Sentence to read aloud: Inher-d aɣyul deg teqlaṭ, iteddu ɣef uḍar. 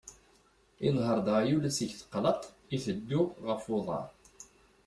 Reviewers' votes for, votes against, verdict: 1, 2, rejected